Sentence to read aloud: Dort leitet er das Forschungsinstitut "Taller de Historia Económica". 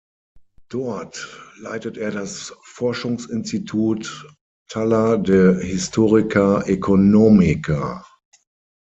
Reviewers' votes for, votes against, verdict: 3, 6, rejected